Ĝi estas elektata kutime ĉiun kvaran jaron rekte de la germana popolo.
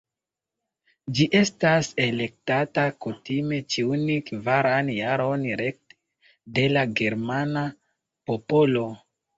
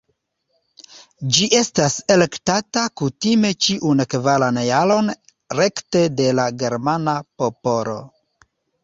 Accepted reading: first